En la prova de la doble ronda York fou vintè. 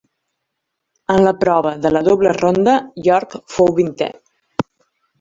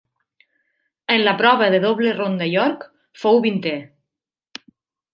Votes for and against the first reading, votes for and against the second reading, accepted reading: 3, 0, 1, 2, first